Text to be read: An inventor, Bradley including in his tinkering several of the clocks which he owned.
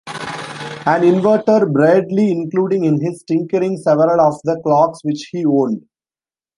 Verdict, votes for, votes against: rejected, 0, 2